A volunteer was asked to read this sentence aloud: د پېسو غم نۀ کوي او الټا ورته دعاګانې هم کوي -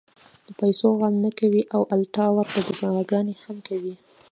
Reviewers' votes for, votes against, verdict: 1, 2, rejected